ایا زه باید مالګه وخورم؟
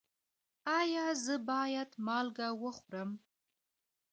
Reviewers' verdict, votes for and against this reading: rejected, 1, 2